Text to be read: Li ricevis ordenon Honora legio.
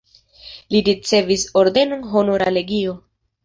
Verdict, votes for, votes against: accepted, 2, 0